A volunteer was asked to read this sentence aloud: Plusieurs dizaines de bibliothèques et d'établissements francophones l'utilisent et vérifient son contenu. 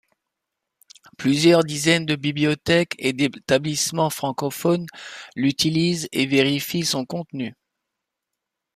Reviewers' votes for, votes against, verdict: 5, 1, accepted